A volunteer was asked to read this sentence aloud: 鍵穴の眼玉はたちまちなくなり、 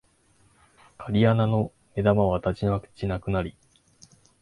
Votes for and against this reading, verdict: 7, 1, accepted